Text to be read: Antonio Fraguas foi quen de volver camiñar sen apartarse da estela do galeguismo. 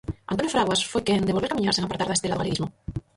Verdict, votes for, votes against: rejected, 0, 4